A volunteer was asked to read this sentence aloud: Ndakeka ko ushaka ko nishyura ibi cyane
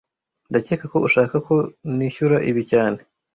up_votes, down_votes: 2, 0